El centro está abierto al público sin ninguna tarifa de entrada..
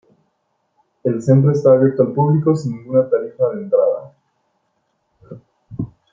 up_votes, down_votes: 2, 1